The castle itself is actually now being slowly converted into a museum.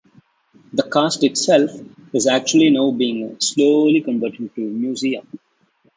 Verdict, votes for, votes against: accepted, 2, 0